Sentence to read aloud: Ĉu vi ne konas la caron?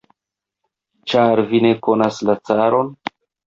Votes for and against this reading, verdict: 1, 2, rejected